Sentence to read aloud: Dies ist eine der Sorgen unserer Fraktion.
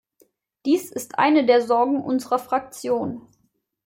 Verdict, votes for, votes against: accepted, 2, 0